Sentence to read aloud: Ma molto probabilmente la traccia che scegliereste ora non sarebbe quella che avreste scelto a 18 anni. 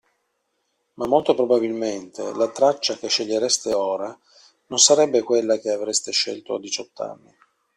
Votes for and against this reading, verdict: 0, 2, rejected